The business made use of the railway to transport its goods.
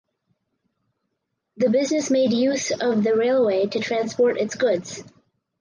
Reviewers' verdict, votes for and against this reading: accepted, 4, 2